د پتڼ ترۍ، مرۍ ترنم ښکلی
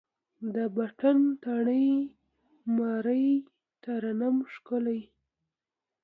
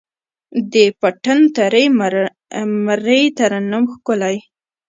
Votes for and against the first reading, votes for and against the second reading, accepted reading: 2, 0, 1, 2, first